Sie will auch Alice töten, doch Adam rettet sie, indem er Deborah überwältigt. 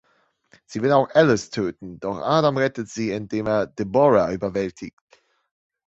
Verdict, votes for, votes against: accepted, 2, 0